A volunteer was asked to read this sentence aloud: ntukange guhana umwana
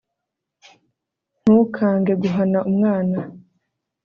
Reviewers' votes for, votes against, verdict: 2, 0, accepted